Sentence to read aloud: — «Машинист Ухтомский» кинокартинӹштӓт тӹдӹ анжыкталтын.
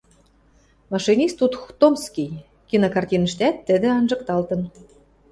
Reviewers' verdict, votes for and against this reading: rejected, 0, 2